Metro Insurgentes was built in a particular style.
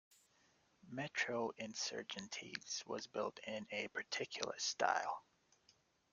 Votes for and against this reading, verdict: 2, 0, accepted